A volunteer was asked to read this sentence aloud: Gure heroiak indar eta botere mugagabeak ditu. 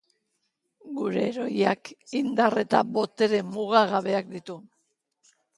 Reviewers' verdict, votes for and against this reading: accepted, 2, 0